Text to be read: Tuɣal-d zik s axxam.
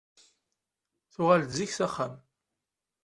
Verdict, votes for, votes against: accepted, 2, 0